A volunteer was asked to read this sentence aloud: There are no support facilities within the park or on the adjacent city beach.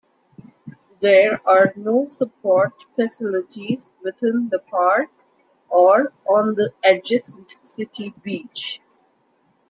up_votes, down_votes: 1, 2